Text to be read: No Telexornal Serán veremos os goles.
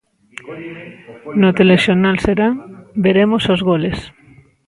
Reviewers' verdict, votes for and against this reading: rejected, 1, 2